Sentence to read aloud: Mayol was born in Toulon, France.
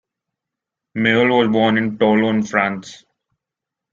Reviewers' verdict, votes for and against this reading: accepted, 2, 1